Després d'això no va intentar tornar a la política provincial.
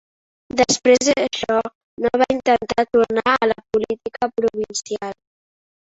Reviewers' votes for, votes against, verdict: 2, 0, accepted